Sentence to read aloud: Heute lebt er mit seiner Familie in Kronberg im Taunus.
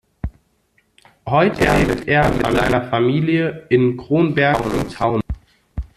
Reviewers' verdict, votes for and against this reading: rejected, 0, 2